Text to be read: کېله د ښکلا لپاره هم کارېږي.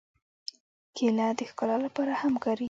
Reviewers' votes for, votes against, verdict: 2, 1, accepted